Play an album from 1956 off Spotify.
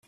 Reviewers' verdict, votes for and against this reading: rejected, 0, 2